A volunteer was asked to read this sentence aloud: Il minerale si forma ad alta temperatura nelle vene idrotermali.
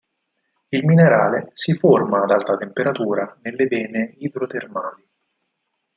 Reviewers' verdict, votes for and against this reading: accepted, 4, 0